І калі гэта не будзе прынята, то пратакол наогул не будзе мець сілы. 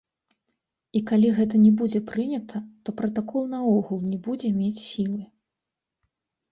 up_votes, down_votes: 2, 0